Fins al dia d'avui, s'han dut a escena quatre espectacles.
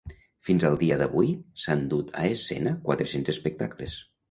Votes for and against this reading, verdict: 0, 2, rejected